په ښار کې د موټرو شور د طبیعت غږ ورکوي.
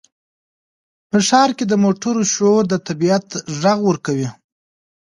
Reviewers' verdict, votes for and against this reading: accepted, 2, 0